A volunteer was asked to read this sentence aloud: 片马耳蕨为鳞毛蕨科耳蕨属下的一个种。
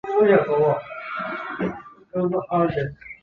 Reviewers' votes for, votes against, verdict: 0, 3, rejected